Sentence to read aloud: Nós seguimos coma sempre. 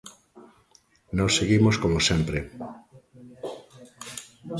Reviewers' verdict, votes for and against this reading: rejected, 0, 2